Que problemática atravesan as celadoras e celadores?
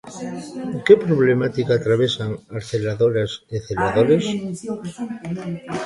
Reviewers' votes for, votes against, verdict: 2, 3, rejected